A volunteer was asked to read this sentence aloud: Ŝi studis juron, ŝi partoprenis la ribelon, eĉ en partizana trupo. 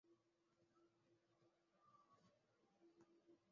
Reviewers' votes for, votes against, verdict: 2, 0, accepted